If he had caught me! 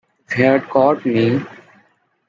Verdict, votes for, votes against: accepted, 2, 1